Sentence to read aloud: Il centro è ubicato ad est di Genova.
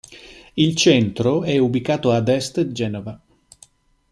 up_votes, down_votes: 0, 2